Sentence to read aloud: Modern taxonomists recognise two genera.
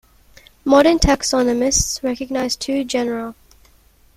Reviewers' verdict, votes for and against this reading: accepted, 2, 1